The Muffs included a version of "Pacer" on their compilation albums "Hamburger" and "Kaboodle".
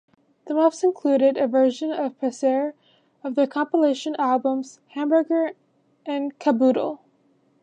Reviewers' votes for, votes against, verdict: 1, 2, rejected